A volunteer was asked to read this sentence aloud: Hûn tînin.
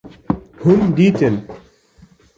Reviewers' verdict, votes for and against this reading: rejected, 1, 2